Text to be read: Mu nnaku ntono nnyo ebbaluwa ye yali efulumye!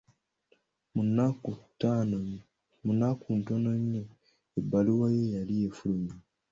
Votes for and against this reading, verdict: 0, 2, rejected